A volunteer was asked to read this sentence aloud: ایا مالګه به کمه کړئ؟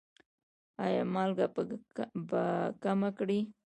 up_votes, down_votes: 0, 2